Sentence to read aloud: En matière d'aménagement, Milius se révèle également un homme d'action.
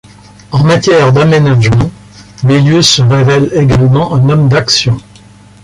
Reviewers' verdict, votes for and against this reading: accepted, 2, 0